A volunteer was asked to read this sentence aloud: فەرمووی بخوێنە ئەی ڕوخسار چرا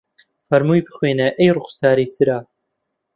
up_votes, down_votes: 0, 2